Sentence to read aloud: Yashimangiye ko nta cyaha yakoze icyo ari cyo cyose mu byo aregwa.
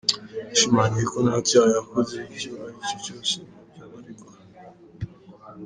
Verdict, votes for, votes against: rejected, 1, 2